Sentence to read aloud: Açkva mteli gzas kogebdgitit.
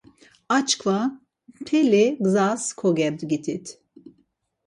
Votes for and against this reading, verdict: 4, 0, accepted